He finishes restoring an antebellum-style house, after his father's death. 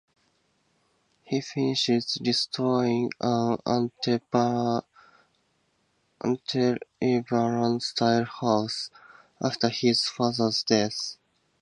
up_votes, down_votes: 0, 2